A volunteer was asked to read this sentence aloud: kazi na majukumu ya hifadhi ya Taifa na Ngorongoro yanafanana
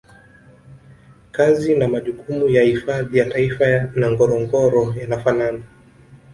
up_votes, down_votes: 1, 2